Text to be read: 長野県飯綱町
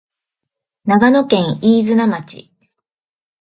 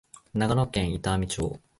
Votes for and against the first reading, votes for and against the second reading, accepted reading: 2, 0, 0, 2, first